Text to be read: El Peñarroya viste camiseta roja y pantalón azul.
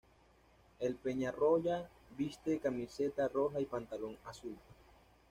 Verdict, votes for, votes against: accepted, 2, 0